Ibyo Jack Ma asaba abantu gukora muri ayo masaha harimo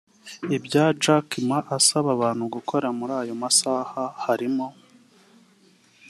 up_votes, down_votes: 3, 0